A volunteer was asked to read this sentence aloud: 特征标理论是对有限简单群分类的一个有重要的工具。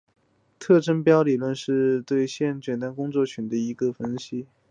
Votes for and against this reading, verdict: 0, 2, rejected